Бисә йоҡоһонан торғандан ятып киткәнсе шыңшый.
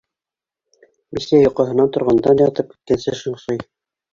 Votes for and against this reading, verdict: 0, 2, rejected